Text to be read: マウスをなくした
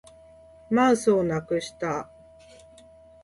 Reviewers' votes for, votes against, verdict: 2, 0, accepted